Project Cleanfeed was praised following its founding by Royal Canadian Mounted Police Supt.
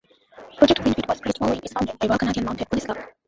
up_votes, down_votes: 0, 2